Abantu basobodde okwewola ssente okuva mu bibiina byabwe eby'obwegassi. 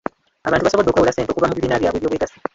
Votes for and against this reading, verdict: 0, 2, rejected